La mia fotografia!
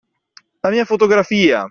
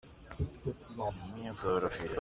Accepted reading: first